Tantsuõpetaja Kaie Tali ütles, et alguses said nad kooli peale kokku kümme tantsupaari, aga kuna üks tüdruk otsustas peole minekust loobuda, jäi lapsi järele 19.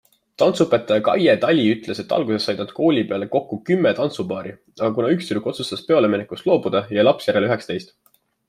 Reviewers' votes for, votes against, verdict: 0, 2, rejected